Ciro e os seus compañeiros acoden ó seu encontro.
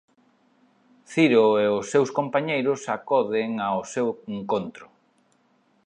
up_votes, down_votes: 2, 1